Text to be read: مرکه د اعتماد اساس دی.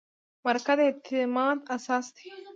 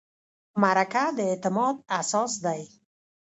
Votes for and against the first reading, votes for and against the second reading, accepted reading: 1, 2, 2, 0, second